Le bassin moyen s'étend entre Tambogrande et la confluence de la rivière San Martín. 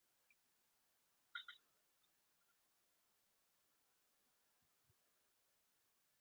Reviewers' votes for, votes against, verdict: 0, 2, rejected